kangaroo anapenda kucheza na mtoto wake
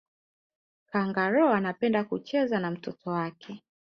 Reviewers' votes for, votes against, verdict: 3, 0, accepted